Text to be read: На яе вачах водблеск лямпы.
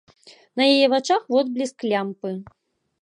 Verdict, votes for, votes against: accepted, 2, 0